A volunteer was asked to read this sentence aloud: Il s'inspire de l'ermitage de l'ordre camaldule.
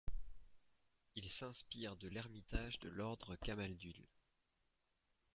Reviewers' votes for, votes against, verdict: 1, 2, rejected